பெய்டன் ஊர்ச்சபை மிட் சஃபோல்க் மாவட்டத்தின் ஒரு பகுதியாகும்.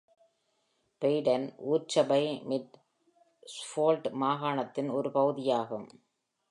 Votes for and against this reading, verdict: 1, 2, rejected